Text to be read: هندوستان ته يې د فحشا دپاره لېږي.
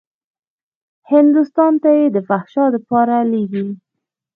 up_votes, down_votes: 0, 2